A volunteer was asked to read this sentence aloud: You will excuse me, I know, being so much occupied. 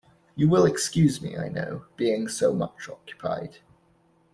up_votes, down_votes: 2, 0